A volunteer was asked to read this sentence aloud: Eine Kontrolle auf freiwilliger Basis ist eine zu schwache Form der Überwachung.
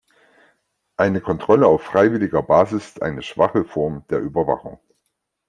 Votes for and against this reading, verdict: 2, 3, rejected